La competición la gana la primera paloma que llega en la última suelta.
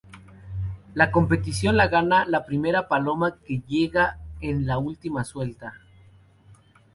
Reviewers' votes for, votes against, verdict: 2, 0, accepted